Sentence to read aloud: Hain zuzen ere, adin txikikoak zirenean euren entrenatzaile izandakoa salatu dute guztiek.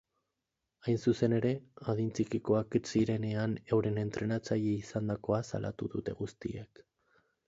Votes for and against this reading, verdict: 0, 2, rejected